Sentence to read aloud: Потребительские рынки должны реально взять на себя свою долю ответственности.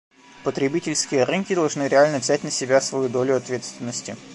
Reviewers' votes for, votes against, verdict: 2, 1, accepted